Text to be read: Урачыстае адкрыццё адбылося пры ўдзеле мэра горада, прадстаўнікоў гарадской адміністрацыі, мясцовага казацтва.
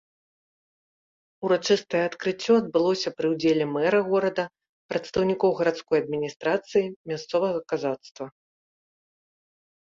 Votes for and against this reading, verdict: 2, 0, accepted